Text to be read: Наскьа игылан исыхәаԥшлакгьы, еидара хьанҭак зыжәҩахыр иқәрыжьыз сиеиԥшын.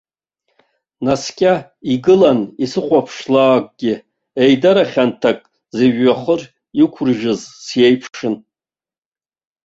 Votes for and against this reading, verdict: 2, 1, accepted